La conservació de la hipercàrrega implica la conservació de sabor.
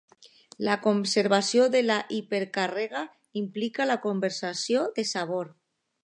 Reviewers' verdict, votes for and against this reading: rejected, 0, 2